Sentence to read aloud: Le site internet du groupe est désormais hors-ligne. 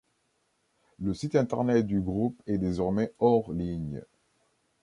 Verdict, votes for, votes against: accepted, 2, 0